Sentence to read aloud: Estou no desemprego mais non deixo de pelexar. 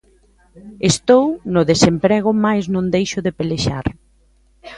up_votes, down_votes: 2, 0